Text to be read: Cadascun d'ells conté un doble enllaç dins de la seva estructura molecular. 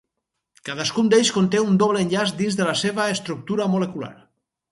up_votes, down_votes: 4, 0